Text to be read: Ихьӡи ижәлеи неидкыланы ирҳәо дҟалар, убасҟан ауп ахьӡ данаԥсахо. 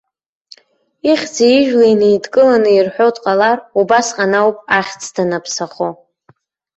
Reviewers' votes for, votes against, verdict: 4, 0, accepted